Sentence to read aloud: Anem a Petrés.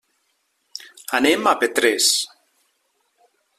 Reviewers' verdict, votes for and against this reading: accepted, 3, 0